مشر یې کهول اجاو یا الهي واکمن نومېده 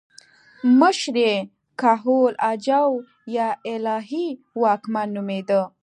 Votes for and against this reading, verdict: 2, 0, accepted